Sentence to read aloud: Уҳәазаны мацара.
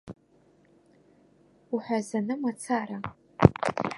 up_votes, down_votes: 2, 0